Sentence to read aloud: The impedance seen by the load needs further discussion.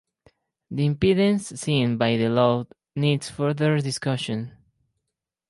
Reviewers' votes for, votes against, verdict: 2, 2, rejected